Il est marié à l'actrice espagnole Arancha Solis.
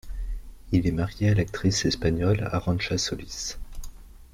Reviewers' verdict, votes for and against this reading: accepted, 2, 0